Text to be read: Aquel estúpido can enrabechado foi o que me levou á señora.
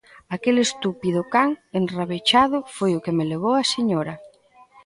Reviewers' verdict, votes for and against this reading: accepted, 2, 0